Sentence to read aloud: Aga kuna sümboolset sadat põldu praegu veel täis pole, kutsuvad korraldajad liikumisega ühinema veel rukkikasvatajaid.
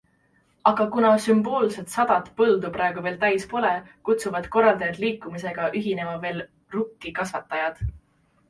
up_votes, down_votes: 0, 2